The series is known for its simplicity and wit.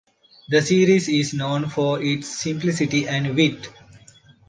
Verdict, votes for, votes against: accepted, 2, 0